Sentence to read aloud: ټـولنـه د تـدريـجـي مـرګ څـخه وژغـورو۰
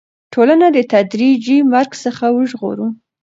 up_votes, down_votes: 0, 2